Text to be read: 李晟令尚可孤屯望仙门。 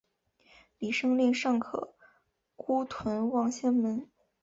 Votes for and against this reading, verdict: 3, 0, accepted